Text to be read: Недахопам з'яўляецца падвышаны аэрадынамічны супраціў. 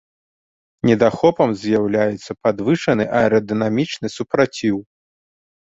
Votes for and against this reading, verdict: 2, 0, accepted